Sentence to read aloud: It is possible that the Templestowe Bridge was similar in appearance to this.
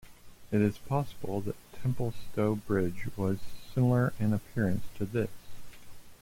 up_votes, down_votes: 1, 2